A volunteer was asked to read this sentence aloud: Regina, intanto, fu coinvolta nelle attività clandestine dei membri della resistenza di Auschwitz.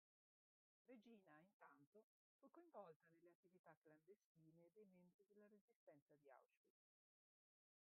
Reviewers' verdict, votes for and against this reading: rejected, 0, 2